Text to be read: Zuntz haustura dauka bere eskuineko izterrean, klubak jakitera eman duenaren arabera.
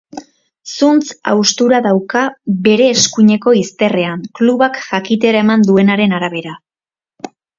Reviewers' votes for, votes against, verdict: 3, 0, accepted